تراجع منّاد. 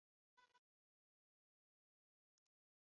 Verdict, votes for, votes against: rejected, 0, 2